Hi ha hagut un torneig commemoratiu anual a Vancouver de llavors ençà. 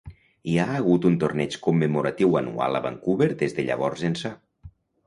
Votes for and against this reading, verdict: 0, 2, rejected